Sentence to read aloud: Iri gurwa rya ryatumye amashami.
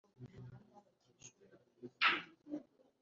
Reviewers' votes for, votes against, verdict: 0, 2, rejected